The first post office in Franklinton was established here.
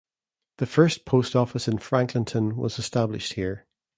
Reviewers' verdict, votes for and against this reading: accepted, 2, 0